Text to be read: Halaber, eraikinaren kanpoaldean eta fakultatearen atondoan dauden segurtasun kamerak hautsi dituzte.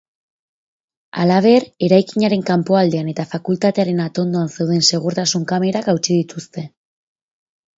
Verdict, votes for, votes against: rejected, 4, 6